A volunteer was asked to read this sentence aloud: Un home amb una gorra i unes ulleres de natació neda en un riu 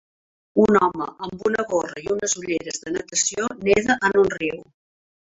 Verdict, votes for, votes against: accepted, 4, 1